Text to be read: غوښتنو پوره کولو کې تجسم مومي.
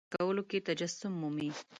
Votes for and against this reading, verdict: 0, 2, rejected